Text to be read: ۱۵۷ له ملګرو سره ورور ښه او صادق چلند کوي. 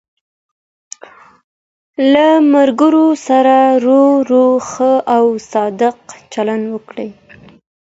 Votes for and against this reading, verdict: 0, 2, rejected